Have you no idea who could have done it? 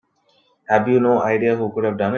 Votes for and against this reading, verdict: 1, 2, rejected